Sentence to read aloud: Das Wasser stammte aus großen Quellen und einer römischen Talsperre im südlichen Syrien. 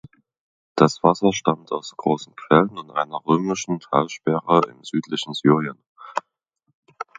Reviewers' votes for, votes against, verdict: 1, 2, rejected